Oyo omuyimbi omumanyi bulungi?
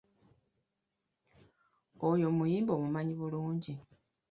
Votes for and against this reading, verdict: 2, 0, accepted